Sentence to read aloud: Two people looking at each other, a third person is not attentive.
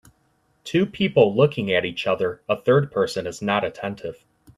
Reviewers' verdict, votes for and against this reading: accepted, 2, 0